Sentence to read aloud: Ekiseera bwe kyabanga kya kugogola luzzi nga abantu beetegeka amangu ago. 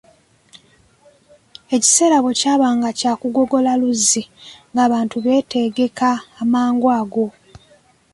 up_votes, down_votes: 2, 0